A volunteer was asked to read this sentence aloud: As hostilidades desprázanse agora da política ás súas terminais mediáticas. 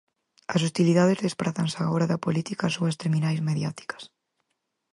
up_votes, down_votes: 4, 0